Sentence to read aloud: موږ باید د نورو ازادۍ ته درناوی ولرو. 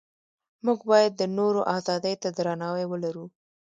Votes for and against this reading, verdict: 2, 0, accepted